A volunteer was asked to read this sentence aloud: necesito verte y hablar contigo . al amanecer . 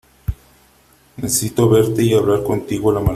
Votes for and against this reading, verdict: 0, 2, rejected